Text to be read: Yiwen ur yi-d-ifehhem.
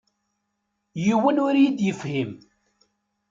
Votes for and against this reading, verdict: 1, 2, rejected